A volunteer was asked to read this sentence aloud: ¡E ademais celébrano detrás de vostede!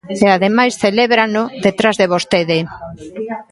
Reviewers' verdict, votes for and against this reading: rejected, 1, 2